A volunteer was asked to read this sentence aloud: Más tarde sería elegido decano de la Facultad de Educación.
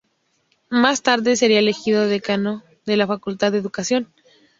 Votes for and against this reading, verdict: 2, 0, accepted